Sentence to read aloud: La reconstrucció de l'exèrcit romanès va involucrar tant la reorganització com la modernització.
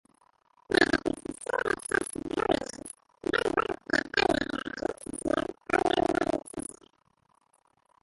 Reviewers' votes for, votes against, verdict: 0, 2, rejected